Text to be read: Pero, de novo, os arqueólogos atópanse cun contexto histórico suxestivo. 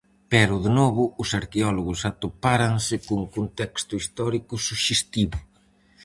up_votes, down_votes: 0, 4